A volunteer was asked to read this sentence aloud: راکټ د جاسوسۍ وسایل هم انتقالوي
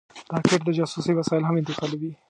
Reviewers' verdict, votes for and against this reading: rejected, 1, 2